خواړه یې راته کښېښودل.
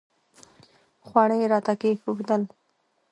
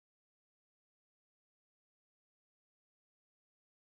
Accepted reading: first